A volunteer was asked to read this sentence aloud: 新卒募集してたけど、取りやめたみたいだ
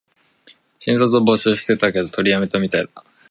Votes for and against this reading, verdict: 1, 2, rejected